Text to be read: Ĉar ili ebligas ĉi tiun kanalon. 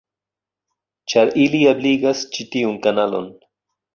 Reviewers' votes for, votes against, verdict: 2, 0, accepted